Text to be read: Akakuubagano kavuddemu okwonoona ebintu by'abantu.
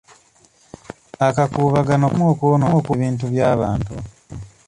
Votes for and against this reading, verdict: 0, 2, rejected